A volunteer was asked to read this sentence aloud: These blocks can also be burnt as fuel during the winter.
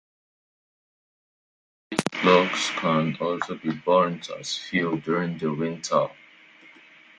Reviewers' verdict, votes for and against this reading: rejected, 0, 2